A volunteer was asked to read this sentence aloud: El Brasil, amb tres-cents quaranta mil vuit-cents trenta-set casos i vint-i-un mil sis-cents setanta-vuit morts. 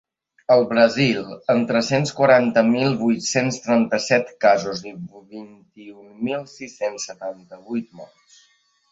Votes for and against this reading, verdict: 0, 2, rejected